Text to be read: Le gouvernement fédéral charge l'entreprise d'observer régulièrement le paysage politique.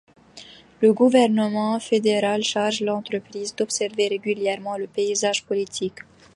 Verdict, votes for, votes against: accepted, 2, 0